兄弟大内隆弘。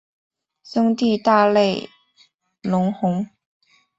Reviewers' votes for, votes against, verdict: 1, 3, rejected